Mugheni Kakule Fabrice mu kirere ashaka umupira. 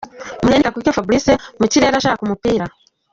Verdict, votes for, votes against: accepted, 2, 1